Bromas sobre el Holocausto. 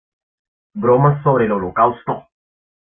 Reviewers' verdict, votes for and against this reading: accepted, 2, 0